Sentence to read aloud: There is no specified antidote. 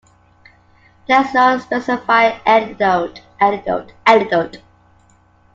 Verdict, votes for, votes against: rejected, 0, 2